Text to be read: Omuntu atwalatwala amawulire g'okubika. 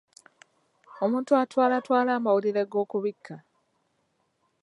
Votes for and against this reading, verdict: 2, 1, accepted